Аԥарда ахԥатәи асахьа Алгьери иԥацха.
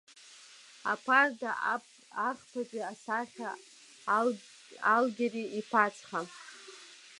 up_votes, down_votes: 1, 2